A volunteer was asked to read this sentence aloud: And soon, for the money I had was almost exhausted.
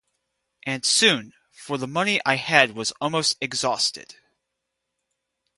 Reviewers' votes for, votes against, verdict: 0, 2, rejected